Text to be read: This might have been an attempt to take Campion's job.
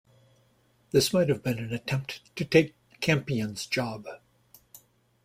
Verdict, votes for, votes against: accepted, 2, 0